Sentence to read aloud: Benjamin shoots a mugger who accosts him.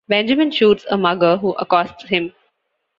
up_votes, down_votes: 2, 0